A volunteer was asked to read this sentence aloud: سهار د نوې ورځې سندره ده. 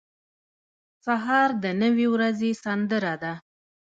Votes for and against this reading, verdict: 1, 2, rejected